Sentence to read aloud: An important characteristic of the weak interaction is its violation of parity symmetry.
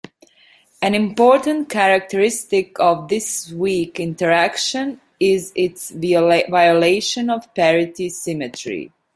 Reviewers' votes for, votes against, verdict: 1, 2, rejected